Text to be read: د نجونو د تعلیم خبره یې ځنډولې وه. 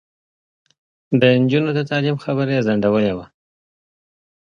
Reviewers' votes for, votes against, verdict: 2, 0, accepted